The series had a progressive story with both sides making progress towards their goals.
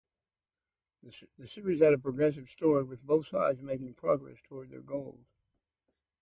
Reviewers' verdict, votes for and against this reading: rejected, 0, 2